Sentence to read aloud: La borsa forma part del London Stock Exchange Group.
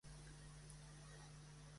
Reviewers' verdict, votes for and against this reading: rejected, 0, 2